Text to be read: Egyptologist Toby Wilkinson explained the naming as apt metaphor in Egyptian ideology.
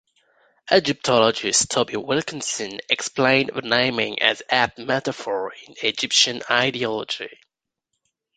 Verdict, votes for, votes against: rejected, 0, 2